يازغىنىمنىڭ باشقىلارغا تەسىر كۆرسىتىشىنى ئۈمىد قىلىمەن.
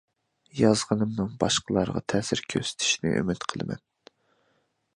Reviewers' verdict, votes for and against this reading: accepted, 2, 0